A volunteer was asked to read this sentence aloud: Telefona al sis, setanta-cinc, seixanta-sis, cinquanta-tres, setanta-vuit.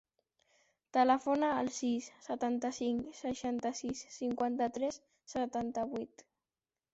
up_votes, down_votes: 3, 0